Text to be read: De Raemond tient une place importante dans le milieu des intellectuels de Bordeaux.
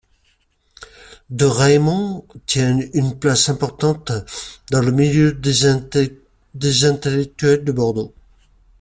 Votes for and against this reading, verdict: 0, 2, rejected